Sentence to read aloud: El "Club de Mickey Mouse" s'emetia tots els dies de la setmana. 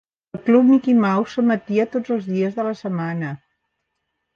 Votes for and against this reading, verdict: 1, 2, rejected